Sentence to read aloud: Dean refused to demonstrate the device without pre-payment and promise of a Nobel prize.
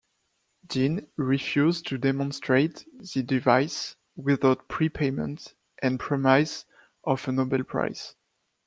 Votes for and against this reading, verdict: 0, 2, rejected